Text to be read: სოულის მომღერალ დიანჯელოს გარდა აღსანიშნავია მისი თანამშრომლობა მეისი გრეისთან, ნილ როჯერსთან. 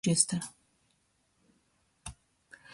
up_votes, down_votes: 0, 2